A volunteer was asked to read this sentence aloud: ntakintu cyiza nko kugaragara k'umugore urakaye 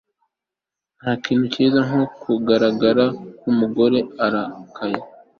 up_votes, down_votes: 2, 0